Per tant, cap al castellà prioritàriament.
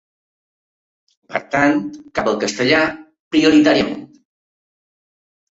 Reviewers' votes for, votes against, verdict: 2, 1, accepted